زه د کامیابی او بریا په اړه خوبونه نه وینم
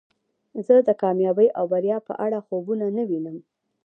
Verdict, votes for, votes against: rejected, 1, 2